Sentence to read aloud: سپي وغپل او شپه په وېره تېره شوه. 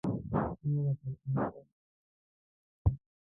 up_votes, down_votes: 0, 2